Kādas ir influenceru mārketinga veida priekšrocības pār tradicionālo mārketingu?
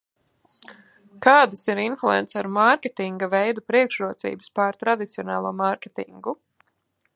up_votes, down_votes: 2, 0